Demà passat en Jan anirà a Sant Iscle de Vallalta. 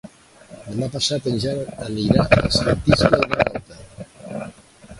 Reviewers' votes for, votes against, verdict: 1, 2, rejected